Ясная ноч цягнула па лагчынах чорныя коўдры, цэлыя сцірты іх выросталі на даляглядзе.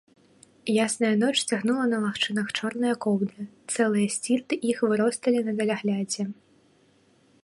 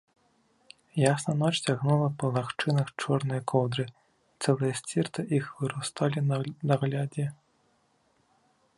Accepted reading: first